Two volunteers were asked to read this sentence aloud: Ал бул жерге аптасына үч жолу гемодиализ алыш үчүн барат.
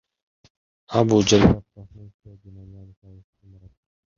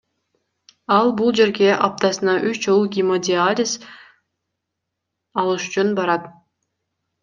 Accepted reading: second